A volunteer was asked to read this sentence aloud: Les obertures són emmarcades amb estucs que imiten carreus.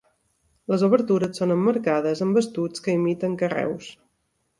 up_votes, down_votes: 2, 0